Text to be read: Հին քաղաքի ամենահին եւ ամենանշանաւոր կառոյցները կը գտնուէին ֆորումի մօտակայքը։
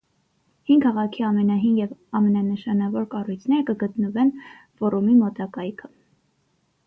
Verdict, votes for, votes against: rejected, 0, 3